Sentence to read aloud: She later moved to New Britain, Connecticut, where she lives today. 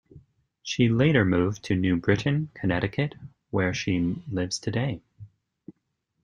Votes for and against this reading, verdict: 2, 0, accepted